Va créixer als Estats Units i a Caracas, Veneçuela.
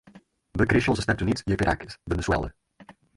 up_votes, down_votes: 4, 2